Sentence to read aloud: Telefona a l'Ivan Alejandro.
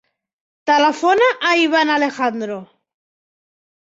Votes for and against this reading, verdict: 2, 3, rejected